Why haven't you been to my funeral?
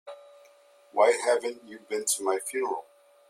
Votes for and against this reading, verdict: 2, 0, accepted